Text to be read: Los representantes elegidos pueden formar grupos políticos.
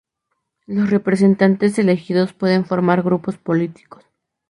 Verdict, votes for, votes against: accepted, 2, 0